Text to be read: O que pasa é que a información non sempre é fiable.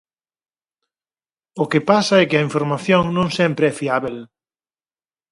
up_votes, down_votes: 0, 4